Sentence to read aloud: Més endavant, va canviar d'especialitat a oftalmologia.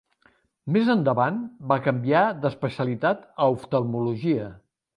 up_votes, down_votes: 4, 0